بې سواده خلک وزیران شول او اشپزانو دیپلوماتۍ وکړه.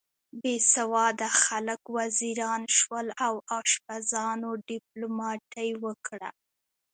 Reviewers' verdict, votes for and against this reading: accepted, 2, 0